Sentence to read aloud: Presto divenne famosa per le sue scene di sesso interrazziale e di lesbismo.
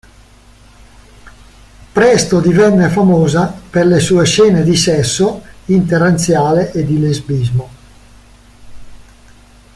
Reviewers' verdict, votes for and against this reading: rejected, 0, 2